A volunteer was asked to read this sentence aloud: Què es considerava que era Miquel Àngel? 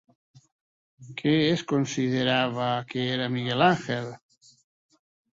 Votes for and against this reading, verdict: 0, 2, rejected